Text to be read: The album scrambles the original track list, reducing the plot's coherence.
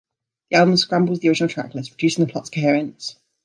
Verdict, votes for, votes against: rejected, 0, 2